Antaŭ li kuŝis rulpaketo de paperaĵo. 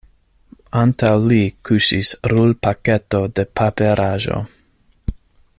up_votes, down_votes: 2, 0